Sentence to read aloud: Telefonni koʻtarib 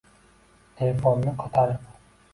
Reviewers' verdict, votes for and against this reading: rejected, 1, 2